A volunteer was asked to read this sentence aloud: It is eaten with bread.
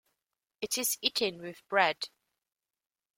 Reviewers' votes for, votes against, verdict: 2, 0, accepted